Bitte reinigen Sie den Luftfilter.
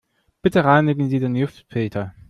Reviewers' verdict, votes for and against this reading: rejected, 0, 2